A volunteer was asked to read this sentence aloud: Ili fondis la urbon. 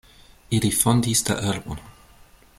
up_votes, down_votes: 0, 2